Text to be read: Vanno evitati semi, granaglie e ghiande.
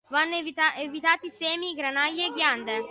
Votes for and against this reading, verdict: 0, 2, rejected